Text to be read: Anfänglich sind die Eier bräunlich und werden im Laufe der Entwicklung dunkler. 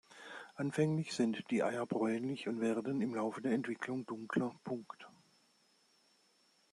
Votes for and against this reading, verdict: 0, 2, rejected